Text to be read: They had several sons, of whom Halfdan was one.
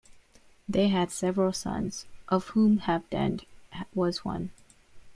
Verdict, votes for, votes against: rejected, 1, 2